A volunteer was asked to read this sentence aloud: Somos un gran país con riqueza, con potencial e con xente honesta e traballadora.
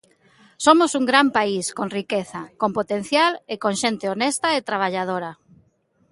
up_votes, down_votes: 2, 0